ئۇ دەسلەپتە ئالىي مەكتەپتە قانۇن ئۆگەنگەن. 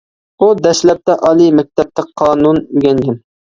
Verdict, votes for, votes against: accepted, 2, 1